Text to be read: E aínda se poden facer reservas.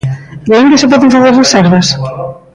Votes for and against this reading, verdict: 1, 2, rejected